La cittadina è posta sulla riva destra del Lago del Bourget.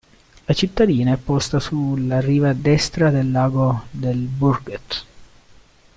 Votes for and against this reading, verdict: 0, 2, rejected